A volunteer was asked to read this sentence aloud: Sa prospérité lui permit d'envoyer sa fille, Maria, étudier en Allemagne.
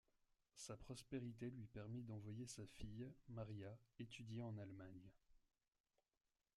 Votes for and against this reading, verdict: 1, 2, rejected